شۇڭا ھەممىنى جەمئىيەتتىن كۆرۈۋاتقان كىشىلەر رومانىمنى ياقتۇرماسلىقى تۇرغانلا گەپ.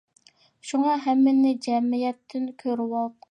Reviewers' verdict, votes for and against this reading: rejected, 0, 2